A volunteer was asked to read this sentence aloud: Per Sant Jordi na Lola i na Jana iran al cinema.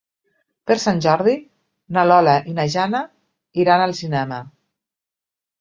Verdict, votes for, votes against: accepted, 2, 0